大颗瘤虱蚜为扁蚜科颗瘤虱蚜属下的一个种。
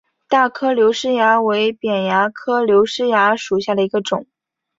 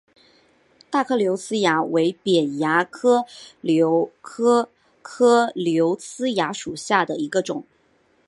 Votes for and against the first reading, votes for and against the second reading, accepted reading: 4, 0, 1, 2, first